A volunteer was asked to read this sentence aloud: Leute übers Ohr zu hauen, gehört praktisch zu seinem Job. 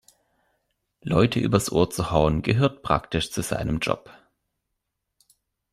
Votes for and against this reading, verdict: 2, 0, accepted